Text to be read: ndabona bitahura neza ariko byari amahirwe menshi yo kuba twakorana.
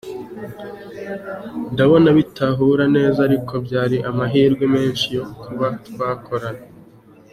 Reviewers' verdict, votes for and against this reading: accepted, 2, 0